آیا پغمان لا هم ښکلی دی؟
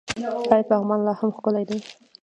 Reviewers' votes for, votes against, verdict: 1, 2, rejected